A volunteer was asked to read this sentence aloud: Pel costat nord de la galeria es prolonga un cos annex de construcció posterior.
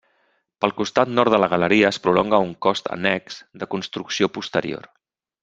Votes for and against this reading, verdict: 2, 0, accepted